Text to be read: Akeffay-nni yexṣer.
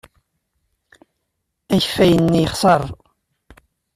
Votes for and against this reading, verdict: 2, 0, accepted